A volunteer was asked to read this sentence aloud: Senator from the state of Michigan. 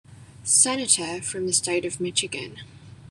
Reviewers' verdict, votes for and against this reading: accepted, 2, 1